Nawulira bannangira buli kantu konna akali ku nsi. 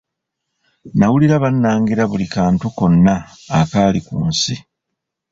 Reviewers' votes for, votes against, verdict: 2, 1, accepted